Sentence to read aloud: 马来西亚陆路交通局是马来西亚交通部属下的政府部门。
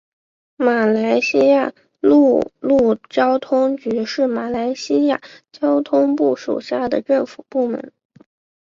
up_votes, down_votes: 9, 0